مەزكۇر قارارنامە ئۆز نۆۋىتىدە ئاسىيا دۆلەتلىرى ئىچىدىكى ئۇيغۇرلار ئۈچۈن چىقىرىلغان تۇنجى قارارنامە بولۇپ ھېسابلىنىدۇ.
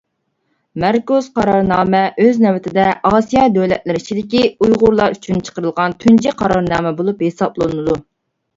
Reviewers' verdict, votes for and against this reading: rejected, 0, 2